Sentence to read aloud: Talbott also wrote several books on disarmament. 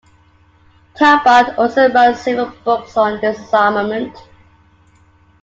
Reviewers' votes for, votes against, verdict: 2, 0, accepted